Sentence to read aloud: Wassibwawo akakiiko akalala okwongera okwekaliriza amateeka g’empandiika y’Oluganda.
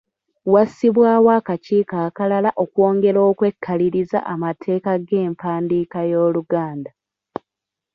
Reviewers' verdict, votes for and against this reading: accepted, 2, 0